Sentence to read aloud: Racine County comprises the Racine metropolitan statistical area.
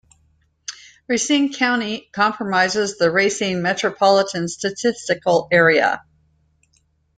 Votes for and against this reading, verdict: 1, 2, rejected